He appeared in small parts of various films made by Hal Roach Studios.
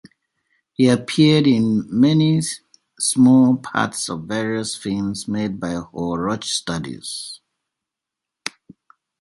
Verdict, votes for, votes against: rejected, 1, 2